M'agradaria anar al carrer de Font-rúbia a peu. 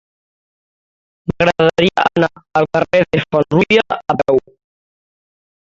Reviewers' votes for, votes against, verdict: 0, 3, rejected